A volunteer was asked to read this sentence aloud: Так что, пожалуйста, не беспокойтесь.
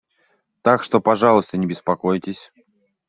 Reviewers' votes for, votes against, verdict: 1, 2, rejected